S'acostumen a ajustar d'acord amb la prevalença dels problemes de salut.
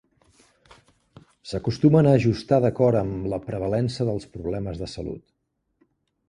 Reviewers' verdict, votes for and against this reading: accepted, 2, 0